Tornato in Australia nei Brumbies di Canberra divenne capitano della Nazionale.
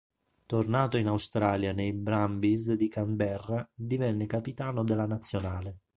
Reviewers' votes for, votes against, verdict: 3, 0, accepted